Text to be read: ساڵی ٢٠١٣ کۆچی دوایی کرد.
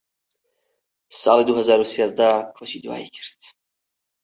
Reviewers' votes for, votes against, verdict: 0, 2, rejected